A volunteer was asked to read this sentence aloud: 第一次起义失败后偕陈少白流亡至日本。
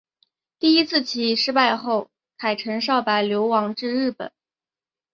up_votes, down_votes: 3, 3